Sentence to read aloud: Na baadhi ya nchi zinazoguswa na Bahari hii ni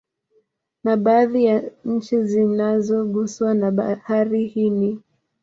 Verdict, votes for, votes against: rejected, 1, 2